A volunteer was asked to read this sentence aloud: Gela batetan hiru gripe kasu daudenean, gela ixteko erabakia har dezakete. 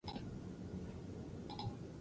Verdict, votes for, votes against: rejected, 0, 2